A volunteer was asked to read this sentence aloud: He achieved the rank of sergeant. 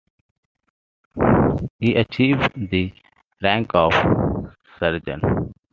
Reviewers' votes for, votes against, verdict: 1, 2, rejected